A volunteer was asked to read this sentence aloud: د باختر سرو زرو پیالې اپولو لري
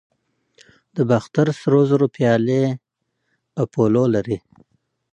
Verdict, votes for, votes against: accepted, 2, 0